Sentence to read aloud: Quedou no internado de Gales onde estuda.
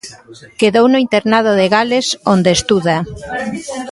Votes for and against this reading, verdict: 2, 1, accepted